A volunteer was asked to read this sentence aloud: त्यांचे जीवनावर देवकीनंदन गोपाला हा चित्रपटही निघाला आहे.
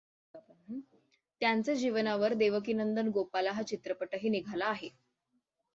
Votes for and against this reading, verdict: 6, 0, accepted